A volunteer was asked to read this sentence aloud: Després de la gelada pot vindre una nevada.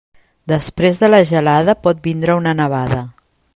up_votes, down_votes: 3, 0